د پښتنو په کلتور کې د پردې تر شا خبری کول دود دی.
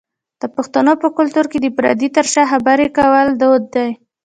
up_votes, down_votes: 2, 0